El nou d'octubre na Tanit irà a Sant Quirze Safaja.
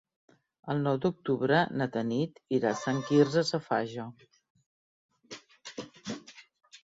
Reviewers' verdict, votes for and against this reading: rejected, 0, 2